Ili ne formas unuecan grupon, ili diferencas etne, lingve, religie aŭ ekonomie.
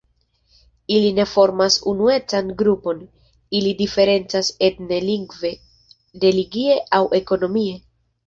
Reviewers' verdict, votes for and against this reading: accepted, 2, 0